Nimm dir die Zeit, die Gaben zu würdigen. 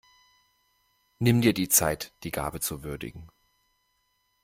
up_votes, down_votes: 0, 2